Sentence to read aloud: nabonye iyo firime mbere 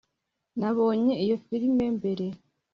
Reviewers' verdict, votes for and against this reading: accepted, 2, 0